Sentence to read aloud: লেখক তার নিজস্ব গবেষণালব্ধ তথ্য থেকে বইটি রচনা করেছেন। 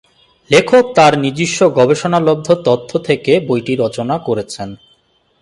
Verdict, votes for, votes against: accepted, 8, 0